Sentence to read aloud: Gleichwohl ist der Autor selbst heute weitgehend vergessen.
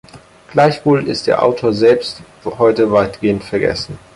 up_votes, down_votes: 6, 2